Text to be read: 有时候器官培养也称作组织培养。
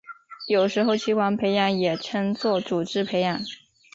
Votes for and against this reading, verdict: 3, 0, accepted